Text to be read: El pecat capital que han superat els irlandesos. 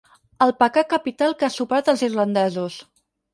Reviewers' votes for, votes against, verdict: 0, 4, rejected